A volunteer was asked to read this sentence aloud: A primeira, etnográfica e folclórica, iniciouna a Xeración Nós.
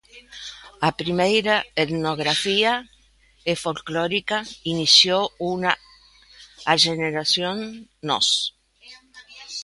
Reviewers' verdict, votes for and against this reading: rejected, 0, 2